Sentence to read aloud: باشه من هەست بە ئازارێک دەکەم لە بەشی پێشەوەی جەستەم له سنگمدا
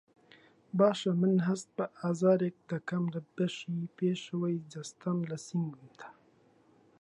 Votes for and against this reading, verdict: 0, 2, rejected